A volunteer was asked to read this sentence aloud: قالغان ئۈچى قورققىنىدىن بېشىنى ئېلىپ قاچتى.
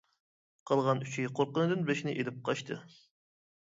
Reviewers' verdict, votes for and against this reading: accepted, 2, 0